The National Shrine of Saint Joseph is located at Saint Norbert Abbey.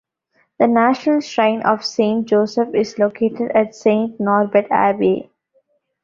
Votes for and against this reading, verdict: 2, 0, accepted